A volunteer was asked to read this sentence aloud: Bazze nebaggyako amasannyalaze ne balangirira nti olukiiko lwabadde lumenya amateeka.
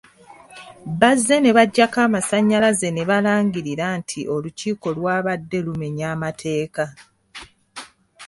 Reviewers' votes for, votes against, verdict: 2, 0, accepted